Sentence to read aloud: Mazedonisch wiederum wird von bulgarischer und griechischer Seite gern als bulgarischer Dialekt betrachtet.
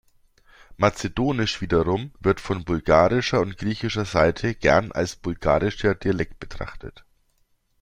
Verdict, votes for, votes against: accepted, 2, 0